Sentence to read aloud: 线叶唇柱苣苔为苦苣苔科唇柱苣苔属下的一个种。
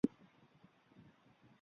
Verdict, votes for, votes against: rejected, 1, 2